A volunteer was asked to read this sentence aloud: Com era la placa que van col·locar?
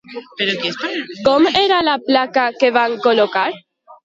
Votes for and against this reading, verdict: 2, 1, accepted